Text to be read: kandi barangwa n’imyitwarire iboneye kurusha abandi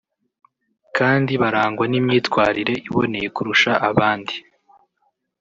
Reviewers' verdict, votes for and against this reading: accepted, 2, 0